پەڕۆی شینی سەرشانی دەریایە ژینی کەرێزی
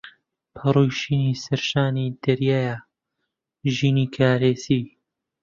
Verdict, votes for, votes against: rejected, 1, 3